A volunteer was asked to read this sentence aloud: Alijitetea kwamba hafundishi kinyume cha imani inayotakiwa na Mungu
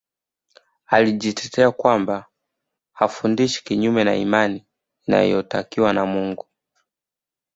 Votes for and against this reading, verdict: 1, 2, rejected